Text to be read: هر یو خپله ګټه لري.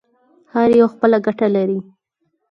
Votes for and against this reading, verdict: 4, 0, accepted